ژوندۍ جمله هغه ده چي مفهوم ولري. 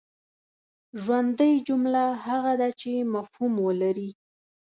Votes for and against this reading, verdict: 2, 0, accepted